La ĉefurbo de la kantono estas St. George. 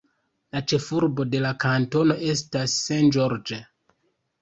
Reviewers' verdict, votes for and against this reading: accepted, 2, 0